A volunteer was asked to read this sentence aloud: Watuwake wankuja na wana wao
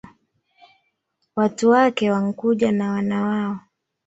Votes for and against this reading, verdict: 1, 2, rejected